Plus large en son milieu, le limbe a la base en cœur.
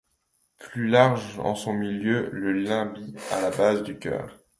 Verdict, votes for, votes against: rejected, 0, 2